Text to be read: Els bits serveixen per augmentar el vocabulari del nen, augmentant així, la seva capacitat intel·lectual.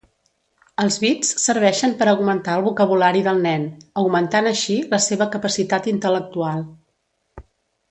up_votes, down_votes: 2, 0